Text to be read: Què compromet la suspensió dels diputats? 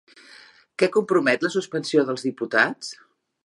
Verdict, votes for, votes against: accepted, 4, 0